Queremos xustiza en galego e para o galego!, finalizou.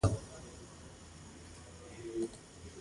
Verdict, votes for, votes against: rejected, 0, 2